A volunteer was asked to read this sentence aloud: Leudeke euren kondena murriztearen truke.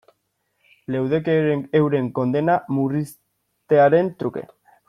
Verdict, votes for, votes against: rejected, 1, 2